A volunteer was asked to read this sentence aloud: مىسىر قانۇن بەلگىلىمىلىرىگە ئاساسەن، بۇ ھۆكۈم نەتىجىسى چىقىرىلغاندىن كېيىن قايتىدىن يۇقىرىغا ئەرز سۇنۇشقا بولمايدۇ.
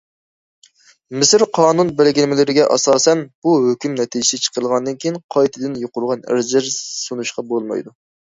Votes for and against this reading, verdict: 1, 2, rejected